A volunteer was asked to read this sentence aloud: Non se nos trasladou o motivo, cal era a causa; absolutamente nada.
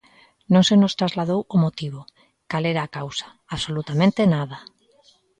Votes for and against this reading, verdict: 2, 0, accepted